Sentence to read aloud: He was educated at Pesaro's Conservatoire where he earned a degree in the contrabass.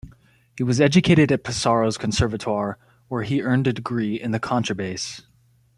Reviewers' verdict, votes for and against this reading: accepted, 2, 0